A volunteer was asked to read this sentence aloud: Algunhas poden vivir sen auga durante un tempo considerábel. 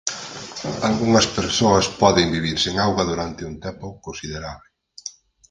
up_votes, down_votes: 2, 4